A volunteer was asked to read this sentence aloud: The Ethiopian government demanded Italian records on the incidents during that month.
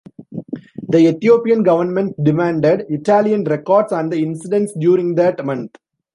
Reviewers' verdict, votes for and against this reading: accepted, 3, 0